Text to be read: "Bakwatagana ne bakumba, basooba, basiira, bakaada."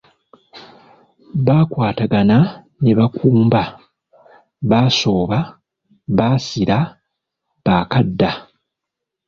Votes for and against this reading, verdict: 1, 2, rejected